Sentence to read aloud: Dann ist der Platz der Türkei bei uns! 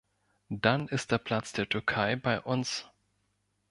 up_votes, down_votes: 2, 0